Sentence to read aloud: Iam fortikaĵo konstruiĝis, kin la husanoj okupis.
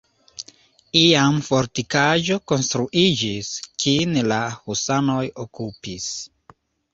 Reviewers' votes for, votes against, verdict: 2, 0, accepted